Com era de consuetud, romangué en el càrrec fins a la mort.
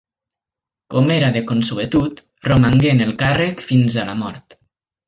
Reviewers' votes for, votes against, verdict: 2, 0, accepted